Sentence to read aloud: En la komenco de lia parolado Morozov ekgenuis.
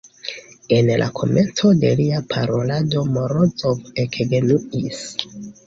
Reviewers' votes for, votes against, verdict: 2, 1, accepted